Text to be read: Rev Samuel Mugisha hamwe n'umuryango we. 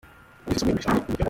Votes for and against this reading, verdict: 0, 3, rejected